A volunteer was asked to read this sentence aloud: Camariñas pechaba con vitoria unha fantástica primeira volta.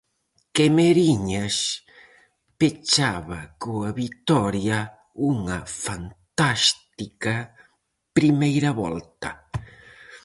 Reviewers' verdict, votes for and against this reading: rejected, 0, 4